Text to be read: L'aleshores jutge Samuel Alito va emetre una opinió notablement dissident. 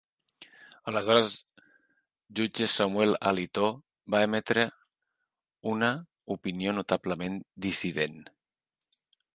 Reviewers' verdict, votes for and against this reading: rejected, 0, 2